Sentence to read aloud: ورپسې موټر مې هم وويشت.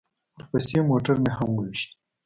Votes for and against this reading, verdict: 2, 0, accepted